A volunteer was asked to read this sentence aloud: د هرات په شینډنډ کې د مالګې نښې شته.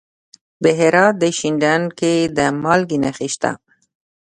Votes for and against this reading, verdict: 0, 2, rejected